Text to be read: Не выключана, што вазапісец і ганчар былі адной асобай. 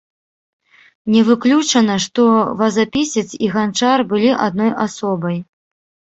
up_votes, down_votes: 0, 2